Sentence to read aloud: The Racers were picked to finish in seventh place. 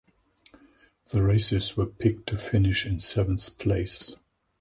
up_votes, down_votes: 2, 2